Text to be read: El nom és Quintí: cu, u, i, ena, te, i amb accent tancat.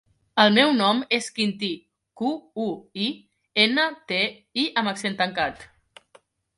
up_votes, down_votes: 0, 2